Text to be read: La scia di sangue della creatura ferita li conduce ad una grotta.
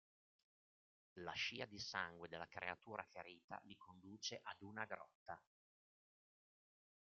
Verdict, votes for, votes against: rejected, 1, 2